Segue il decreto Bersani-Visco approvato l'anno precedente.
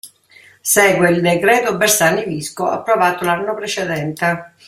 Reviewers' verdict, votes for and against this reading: accepted, 2, 0